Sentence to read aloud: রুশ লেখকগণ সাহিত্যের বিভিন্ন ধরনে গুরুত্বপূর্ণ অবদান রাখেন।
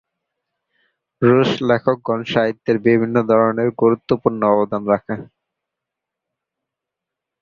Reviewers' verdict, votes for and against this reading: accepted, 11, 4